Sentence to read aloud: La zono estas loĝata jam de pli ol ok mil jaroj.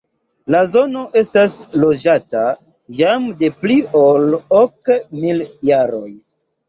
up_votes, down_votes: 1, 2